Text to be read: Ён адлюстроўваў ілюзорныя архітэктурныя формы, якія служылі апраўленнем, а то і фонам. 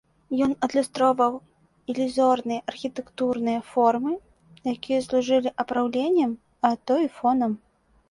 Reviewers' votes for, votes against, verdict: 2, 0, accepted